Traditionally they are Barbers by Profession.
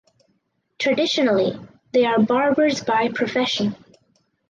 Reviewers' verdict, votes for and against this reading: accepted, 4, 0